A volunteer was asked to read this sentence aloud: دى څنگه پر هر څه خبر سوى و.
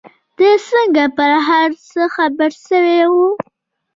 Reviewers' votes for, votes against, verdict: 2, 0, accepted